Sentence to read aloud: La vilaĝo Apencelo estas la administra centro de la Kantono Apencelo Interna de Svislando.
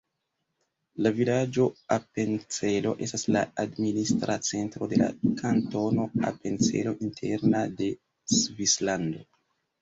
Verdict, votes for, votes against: rejected, 1, 2